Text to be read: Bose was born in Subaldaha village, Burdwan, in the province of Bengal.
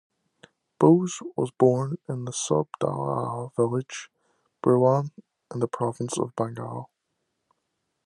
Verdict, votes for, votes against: rejected, 1, 2